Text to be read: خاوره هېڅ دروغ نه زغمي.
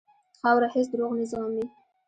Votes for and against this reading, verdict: 2, 0, accepted